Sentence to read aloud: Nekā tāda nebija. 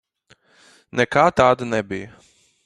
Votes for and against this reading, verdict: 4, 0, accepted